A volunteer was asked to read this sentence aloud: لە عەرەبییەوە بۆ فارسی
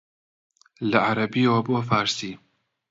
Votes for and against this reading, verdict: 2, 0, accepted